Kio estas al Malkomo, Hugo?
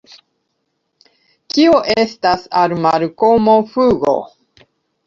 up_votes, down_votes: 0, 2